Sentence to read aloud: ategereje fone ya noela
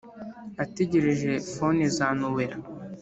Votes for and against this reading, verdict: 0, 3, rejected